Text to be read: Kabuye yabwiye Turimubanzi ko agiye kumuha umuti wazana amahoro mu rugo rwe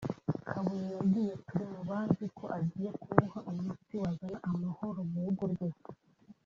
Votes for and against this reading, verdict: 1, 2, rejected